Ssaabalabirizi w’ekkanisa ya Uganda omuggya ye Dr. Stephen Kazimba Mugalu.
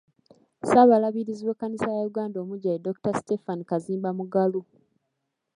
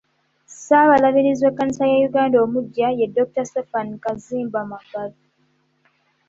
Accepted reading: first